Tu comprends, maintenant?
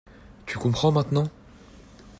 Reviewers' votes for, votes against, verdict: 2, 0, accepted